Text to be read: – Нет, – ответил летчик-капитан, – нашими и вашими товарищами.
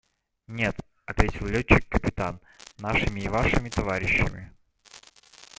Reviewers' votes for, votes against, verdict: 1, 2, rejected